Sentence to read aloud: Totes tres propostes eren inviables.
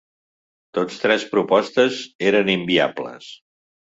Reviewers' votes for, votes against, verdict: 1, 2, rejected